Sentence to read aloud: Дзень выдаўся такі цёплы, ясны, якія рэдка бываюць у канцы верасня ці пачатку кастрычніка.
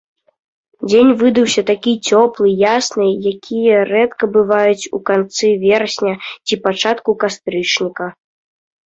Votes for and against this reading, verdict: 2, 0, accepted